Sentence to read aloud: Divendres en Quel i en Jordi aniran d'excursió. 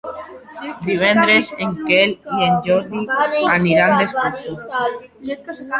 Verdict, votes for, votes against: rejected, 0, 2